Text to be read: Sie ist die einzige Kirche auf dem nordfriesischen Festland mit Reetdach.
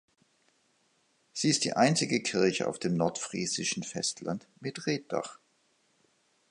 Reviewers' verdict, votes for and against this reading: accepted, 2, 0